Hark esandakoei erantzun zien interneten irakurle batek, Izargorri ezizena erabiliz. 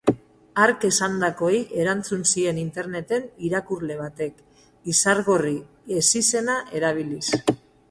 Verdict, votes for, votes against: accepted, 6, 0